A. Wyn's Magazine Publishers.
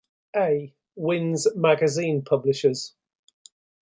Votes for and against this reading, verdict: 2, 0, accepted